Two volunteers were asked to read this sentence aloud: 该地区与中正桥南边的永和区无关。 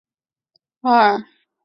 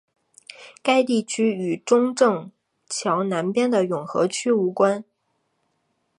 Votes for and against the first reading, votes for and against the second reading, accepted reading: 0, 2, 3, 0, second